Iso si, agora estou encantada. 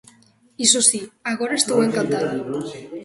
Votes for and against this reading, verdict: 2, 0, accepted